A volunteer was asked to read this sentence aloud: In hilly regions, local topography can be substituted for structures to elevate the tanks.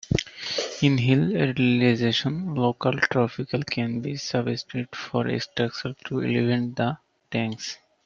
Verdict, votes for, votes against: rejected, 0, 2